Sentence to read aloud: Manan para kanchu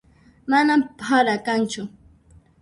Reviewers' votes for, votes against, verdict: 0, 2, rejected